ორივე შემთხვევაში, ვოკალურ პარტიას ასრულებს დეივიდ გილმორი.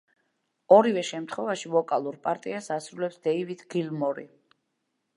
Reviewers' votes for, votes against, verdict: 2, 0, accepted